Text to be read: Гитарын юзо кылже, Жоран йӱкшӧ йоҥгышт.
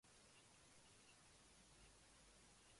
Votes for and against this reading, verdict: 0, 3, rejected